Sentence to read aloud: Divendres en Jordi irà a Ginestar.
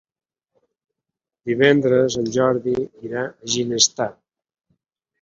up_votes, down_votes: 1, 2